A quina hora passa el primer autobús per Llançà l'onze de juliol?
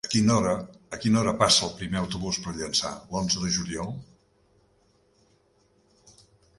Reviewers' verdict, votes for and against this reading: rejected, 0, 2